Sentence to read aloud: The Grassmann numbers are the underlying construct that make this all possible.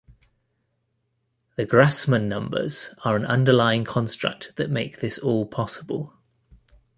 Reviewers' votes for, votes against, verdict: 1, 2, rejected